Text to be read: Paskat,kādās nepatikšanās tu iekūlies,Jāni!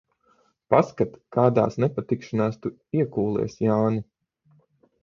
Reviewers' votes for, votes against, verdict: 3, 3, rejected